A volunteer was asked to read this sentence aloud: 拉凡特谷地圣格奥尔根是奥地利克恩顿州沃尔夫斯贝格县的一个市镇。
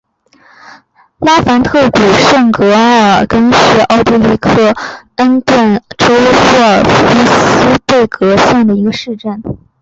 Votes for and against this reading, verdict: 3, 0, accepted